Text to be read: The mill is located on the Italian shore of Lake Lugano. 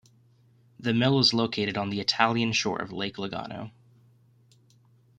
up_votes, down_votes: 2, 0